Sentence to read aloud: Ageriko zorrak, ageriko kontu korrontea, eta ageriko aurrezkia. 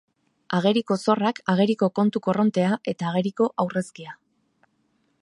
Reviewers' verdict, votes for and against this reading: accepted, 2, 0